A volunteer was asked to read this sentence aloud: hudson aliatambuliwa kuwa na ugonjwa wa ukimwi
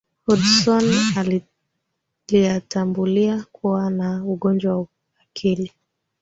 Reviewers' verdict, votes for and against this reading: rejected, 0, 2